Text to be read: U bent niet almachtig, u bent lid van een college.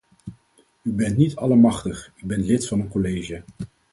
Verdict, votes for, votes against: rejected, 2, 4